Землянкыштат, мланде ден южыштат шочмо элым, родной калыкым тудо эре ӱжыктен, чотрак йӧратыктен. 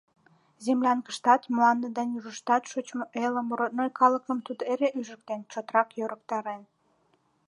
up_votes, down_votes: 1, 4